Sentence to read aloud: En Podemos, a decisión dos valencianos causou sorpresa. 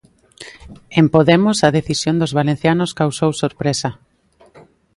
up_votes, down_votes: 2, 0